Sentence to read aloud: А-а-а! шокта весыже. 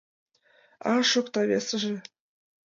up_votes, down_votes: 2, 0